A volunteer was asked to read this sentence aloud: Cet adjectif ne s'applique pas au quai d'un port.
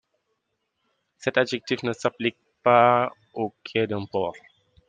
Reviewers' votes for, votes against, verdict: 2, 0, accepted